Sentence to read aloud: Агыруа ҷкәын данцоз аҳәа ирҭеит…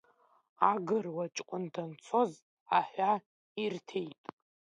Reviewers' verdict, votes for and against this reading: rejected, 1, 2